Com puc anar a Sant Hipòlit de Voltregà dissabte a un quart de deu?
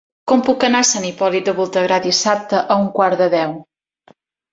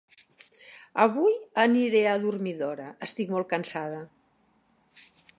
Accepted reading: first